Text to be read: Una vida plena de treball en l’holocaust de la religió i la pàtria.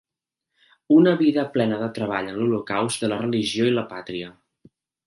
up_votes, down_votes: 2, 0